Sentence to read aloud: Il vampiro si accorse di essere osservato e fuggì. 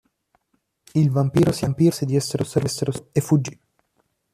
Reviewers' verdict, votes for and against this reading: rejected, 0, 2